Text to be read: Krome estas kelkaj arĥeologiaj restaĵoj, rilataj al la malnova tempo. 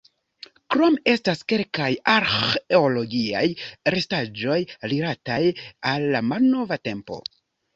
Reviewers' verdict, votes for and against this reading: rejected, 1, 3